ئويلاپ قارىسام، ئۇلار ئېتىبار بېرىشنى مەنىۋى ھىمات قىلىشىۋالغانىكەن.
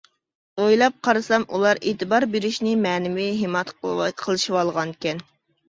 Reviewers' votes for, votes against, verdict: 0, 2, rejected